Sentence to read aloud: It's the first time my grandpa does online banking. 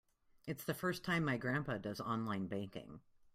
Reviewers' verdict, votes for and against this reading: accepted, 2, 0